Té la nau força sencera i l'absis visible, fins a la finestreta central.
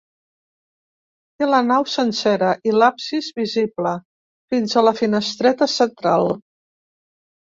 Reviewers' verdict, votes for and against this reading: rejected, 0, 2